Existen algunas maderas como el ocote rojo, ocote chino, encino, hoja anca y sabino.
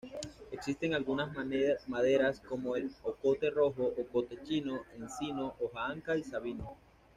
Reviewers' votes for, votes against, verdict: 1, 2, rejected